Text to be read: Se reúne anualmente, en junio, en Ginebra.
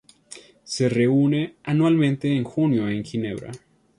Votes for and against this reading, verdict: 2, 0, accepted